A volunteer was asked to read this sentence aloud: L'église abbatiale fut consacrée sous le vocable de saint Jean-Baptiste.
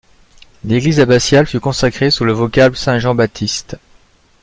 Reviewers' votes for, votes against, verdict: 0, 2, rejected